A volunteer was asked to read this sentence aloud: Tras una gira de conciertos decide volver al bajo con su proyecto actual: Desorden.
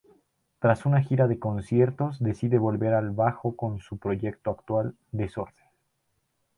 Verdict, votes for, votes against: accepted, 2, 0